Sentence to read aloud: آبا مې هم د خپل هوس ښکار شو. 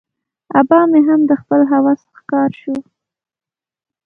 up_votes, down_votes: 2, 0